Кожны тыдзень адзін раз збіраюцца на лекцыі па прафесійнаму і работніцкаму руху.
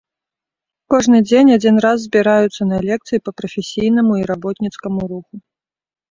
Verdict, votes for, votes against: rejected, 1, 2